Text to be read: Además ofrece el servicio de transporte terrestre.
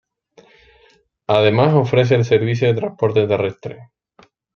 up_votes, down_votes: 2, 1